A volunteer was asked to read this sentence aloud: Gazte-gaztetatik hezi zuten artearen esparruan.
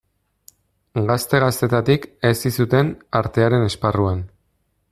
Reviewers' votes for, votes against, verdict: 2, 0, accepted